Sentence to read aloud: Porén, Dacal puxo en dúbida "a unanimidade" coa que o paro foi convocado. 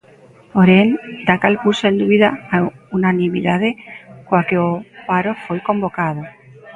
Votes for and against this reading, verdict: 1, 2, rejected